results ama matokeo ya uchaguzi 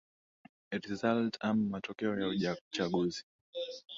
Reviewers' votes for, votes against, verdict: 10, 1, accepted